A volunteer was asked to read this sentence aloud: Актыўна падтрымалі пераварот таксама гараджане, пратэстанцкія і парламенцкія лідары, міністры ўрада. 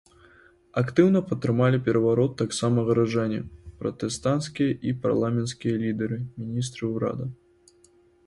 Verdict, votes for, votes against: accepted, 2, 0